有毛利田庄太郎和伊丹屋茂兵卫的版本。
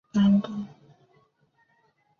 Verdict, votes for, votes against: rejected, 0, 2